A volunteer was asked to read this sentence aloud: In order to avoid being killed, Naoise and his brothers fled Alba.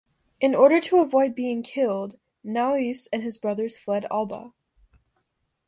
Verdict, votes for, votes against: accepted, 2, 0